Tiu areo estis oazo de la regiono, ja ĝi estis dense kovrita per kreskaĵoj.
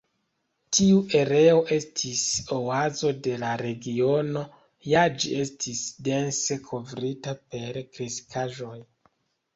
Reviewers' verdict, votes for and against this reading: accepted, 2, 0